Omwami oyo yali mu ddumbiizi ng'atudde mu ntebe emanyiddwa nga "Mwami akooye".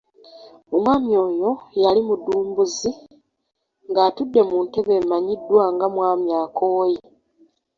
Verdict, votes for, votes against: rejected, 1, 2